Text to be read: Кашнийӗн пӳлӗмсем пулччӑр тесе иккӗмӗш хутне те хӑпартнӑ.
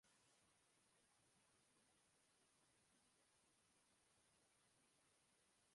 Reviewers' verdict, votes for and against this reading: rejected, 0, 2